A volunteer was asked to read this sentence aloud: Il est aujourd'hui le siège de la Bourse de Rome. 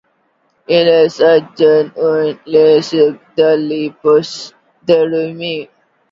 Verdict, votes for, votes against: rejected, 0, 2